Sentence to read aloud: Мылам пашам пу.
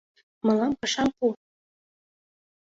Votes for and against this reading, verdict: 2, 0, accepted